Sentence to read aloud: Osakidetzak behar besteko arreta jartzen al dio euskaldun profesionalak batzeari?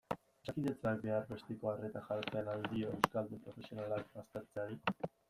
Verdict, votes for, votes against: rejected, 0, 2